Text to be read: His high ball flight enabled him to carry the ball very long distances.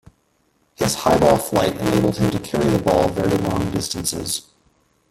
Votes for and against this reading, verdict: 1, 2, rejected